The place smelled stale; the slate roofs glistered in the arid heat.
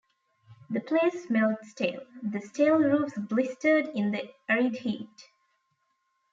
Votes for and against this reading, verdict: 0, 2, rejected